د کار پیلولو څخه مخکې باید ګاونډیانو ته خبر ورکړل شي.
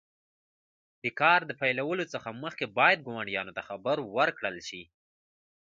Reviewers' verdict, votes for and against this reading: rejected, 1, 2